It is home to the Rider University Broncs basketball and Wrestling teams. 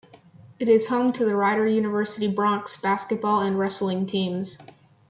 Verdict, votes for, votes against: rejected, 1, 2